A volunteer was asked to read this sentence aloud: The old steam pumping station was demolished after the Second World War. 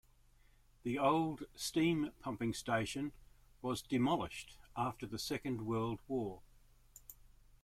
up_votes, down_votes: 2, 0